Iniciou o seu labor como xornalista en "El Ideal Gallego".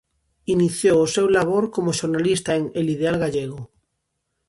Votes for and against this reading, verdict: 2, 0, accepted